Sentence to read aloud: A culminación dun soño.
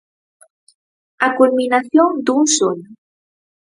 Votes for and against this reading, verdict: 4, 0, accepted